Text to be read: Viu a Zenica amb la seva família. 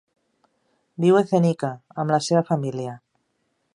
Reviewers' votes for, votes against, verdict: 2, 0, accepted